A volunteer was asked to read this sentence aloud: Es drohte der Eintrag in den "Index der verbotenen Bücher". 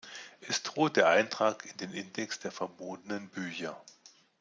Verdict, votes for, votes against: rejected, 1, 2